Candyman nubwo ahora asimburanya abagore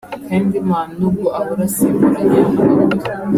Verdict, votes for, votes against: rejected, 1, 2